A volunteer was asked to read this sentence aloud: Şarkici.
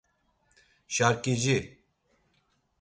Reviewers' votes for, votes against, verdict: 2, 0, accepted